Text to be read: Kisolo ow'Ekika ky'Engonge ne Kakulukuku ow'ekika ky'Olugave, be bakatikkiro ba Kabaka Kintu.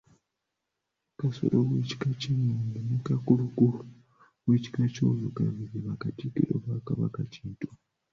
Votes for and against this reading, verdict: 1, 2, rejected